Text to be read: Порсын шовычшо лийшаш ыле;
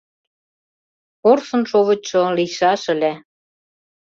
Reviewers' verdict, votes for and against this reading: accepted, 2, 0